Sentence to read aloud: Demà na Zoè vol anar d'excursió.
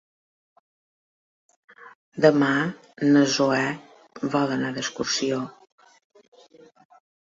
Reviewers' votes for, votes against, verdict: 2, 1, accepted